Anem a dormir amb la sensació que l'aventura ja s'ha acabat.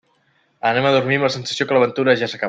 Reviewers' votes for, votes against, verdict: 0, 2, rejected